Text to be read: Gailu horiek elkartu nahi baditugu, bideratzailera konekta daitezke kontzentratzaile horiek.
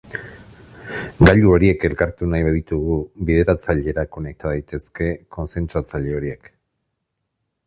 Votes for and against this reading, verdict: 2, 0, accepted